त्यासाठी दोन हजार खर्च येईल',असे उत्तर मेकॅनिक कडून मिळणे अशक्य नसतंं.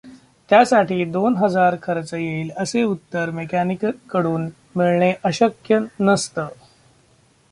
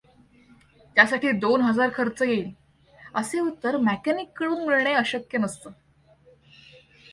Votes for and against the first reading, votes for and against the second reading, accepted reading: 0, 2, 2, 0, second